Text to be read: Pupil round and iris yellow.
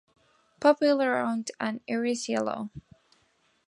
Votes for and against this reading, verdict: 1, 2, rejected